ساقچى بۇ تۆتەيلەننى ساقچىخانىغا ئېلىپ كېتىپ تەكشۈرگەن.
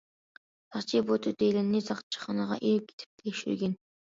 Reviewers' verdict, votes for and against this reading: rejected, 1, 2